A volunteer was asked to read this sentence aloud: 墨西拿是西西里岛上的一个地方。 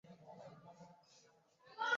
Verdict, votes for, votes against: rejected, 0, 5